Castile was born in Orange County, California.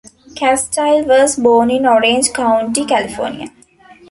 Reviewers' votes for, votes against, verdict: 2, 1, accepted